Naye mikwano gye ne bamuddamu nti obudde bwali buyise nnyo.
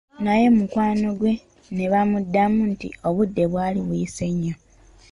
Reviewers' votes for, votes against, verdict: 2, 0, accepted